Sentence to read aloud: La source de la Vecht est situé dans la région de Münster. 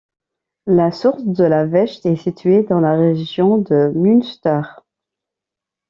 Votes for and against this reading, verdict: 2, 0, accepted